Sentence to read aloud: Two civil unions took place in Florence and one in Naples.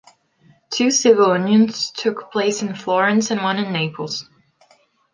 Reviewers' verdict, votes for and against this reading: accepted, 2, 0